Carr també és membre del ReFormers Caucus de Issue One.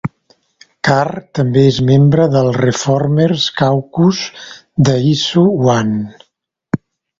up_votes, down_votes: 2, 0